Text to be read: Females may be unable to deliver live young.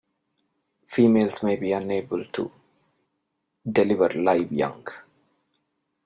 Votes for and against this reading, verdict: 2, 1, accepted